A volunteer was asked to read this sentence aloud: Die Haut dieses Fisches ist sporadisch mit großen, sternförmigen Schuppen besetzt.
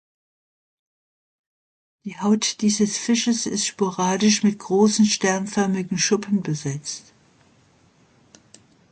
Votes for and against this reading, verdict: 2, 0, accepted